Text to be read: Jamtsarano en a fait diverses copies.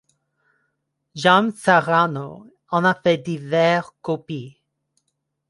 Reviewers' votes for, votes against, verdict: 1, 2, rejected